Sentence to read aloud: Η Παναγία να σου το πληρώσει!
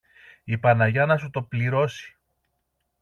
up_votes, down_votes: 0, 2